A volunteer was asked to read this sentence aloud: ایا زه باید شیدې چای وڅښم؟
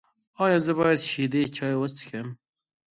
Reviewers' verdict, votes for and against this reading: accepted, 2, 0